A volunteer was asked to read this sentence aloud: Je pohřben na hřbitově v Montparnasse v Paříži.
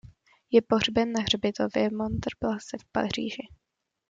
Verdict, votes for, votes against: rejected, 0, 2